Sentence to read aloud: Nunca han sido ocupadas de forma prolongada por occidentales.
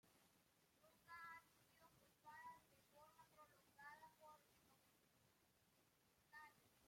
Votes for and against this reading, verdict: 0, 2, rejected